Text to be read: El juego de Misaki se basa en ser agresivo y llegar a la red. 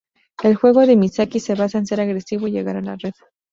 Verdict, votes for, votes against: accepted, 2, 0